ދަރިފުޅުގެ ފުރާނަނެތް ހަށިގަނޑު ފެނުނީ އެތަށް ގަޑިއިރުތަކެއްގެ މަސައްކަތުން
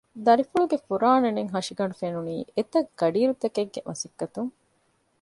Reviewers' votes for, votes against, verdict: 2, 0, accepted